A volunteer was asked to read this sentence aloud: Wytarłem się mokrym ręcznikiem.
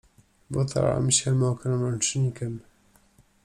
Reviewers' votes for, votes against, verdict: 2, 0, accepted